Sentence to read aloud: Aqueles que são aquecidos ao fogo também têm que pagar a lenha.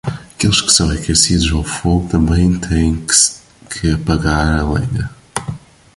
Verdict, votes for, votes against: rejected, 1, 2